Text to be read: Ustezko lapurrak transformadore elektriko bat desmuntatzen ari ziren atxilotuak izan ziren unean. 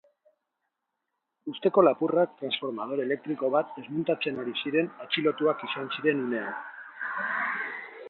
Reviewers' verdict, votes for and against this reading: rejected, 0, 2